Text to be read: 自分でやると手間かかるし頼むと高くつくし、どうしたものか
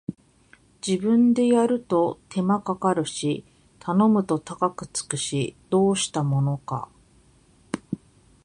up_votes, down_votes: 2, 0